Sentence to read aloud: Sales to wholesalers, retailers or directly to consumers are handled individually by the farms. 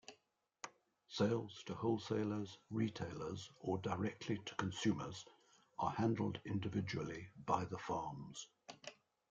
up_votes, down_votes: 2, 1